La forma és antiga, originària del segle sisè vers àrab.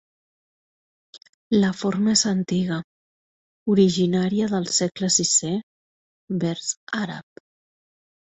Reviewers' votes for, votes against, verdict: 2, 0, accepted